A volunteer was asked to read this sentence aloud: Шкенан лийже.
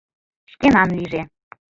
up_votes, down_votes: 0, 2